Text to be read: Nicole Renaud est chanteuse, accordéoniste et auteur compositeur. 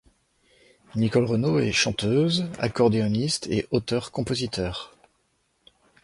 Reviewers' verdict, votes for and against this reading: accepted, 2, 0